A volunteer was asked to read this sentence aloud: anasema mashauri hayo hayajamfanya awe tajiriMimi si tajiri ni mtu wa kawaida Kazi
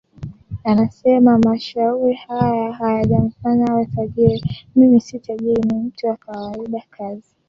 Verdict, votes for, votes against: rejected, 1, 2